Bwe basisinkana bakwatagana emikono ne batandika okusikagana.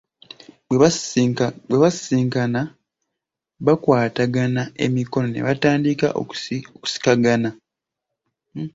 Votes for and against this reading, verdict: 2, 0, accepted